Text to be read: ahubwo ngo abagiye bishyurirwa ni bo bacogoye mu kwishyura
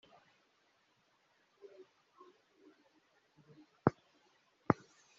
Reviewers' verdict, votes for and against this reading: rejected, 0, 3